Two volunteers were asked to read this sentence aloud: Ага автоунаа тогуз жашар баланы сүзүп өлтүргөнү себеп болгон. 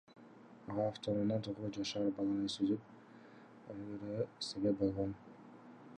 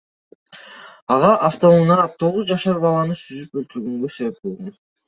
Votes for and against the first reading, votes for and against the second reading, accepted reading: 2, 0, 1, 2, first